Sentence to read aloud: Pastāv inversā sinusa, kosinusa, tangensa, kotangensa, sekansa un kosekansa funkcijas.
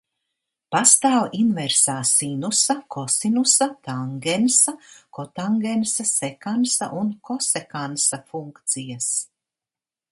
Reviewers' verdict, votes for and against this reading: accepted, 3, 0